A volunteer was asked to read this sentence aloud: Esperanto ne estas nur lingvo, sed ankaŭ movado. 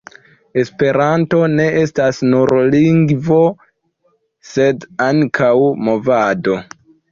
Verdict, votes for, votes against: accepted, 2, 0